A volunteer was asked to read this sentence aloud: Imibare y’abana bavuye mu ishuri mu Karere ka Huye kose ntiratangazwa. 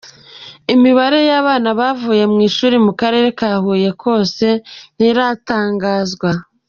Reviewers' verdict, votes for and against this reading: accepted, 2, 0